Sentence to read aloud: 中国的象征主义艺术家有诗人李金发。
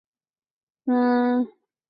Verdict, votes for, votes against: rejected, 0, 3